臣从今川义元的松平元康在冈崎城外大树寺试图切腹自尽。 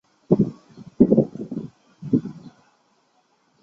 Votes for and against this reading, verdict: 0, 2, rejected